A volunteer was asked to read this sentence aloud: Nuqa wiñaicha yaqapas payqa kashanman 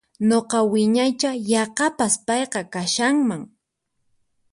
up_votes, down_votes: 4, 0